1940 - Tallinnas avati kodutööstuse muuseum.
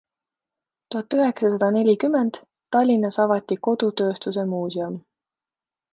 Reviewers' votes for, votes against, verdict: 0, 2, rejected